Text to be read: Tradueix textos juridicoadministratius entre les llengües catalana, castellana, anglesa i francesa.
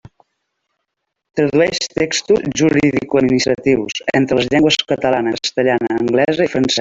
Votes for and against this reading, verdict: 0, 2, rejected